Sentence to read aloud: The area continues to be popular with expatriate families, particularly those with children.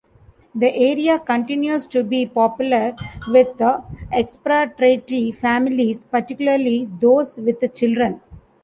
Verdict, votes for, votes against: rejected, 1, 2